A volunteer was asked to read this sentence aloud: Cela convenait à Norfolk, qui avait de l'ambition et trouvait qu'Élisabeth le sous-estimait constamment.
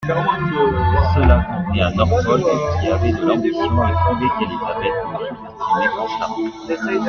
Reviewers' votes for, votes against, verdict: 0, 2, rejected